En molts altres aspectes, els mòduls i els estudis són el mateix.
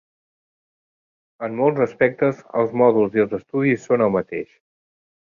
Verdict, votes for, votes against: rejected, 0, 2